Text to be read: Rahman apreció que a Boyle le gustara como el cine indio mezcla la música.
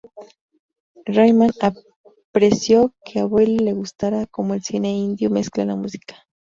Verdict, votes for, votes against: rejected, 0, 2